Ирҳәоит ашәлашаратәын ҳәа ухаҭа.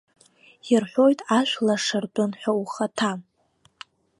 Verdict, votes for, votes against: rejected, 0, 2